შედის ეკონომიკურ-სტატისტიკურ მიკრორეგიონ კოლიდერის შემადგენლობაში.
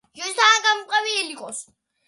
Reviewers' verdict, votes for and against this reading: rejected, 1, 2